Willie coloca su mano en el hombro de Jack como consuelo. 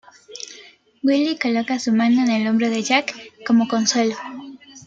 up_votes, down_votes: 2, 0